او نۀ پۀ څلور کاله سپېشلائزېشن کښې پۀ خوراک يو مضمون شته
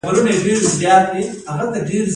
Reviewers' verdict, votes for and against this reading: accepted, 2, 0